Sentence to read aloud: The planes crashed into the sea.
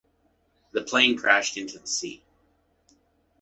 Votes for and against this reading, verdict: 0, 2, rejected